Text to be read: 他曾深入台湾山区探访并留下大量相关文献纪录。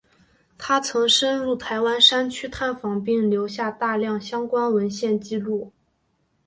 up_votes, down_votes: 2, 0